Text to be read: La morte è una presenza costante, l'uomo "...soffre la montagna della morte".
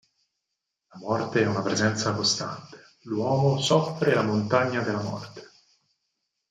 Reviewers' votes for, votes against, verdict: 2, 4, rejected